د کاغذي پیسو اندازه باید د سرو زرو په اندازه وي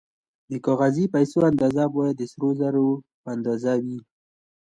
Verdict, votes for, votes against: accepted, 2, 0